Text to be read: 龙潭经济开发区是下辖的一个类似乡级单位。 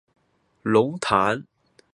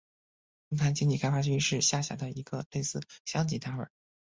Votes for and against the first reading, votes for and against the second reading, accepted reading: 1, 2, 3, 0, second